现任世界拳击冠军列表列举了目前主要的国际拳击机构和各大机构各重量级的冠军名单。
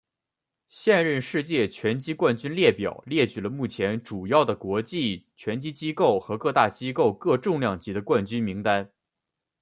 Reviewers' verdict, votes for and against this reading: accepted, 2, 0